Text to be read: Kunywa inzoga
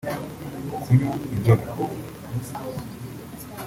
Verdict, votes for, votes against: rejected, 1, 2